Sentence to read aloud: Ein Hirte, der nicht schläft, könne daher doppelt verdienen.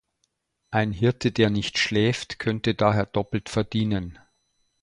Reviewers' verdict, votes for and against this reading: rejected, 0, 2